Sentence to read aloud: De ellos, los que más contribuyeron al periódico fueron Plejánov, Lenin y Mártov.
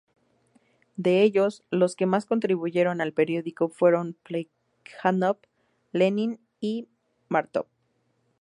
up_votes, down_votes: 0, 2